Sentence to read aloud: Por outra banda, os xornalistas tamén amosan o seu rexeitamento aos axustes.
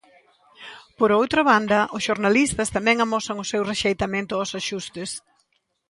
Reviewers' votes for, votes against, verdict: 2, 0, accepted